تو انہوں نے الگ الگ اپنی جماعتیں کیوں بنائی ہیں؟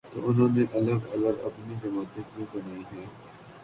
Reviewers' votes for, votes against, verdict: 0, 2, rejected